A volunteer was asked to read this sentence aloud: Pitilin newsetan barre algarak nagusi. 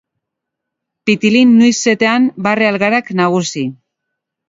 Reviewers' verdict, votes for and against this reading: accepted, 2, 0